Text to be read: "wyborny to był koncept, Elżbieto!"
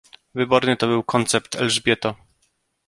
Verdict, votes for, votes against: accepted, 2, 1